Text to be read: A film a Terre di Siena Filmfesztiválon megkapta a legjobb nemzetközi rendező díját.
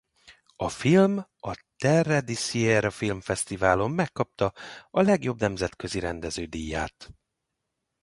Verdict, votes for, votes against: rejected, 0, 2